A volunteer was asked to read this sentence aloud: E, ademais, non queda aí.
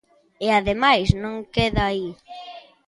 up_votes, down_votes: 1, 2